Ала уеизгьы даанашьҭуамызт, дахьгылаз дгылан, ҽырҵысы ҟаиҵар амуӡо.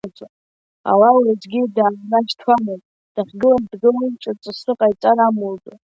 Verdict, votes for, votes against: rejected, 1, 2